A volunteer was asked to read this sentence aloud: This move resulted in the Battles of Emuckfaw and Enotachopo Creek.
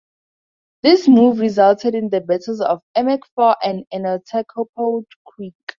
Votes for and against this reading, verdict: 2, 0, accepted